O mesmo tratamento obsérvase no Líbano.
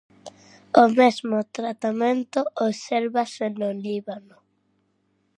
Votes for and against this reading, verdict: 2, 0, accepted